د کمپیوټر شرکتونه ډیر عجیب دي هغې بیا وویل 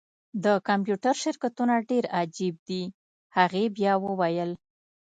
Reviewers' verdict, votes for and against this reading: rejected, 0, 2